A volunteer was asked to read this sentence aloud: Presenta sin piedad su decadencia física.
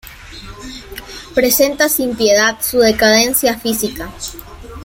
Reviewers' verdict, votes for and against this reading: accepted, 2, 0